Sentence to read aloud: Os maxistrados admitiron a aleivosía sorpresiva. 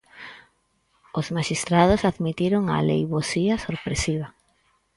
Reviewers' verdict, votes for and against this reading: accepted, 4, 2